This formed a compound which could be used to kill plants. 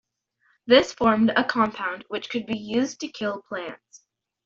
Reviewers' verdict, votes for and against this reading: accepted, 2, 0